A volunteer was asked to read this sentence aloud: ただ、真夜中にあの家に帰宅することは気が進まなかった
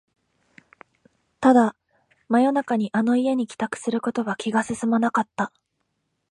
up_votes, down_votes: 2, 0